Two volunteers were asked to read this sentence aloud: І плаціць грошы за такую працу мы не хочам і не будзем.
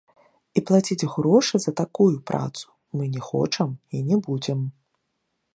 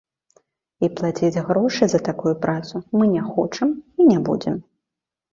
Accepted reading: second